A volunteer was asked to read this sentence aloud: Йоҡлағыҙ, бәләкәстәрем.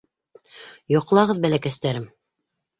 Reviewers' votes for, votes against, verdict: 2, 0, accepted